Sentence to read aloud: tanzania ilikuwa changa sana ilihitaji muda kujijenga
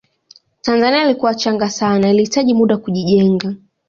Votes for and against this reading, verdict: 2, 1, accepted